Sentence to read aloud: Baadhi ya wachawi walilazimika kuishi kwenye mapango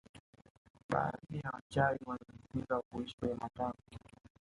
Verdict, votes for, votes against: rejected, 0, 2